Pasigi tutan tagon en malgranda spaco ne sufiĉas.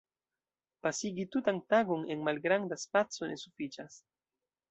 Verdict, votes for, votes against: accepted, 2, 1